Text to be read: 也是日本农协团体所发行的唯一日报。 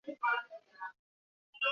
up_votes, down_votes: 1, 2